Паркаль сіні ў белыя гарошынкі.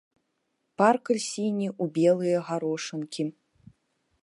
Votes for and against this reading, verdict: 1, 2, rejected